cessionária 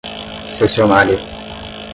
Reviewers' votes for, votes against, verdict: 10, 0, accepted